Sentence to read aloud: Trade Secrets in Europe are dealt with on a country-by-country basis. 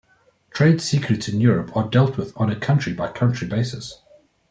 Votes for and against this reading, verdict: 2, 0, accepted